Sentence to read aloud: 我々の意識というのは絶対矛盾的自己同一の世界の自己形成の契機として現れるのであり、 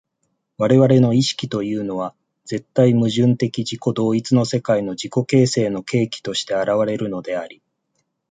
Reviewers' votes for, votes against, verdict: 2, 0, accepted